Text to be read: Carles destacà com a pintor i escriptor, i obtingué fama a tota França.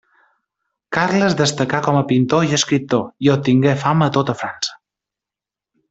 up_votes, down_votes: 2, 0